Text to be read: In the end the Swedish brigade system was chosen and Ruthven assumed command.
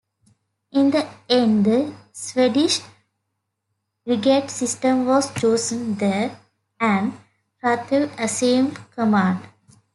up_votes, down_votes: 0, 2